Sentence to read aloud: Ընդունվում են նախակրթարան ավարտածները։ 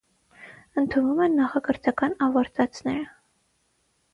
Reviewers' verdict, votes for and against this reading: rejected, 3, 6